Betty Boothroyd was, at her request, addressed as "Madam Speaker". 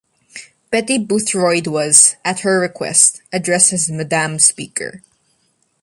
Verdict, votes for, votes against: accepted, 2, 0